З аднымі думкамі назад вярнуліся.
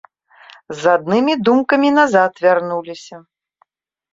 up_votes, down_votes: 2, 0